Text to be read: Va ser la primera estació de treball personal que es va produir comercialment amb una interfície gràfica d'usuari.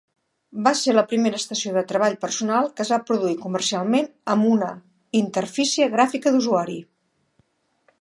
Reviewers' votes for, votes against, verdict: 3, 0, accepted